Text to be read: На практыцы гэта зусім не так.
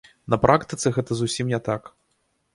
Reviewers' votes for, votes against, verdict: 2, 0, accepted